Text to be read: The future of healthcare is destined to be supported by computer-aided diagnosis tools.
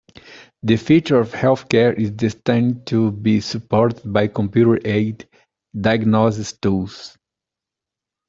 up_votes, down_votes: 0, 2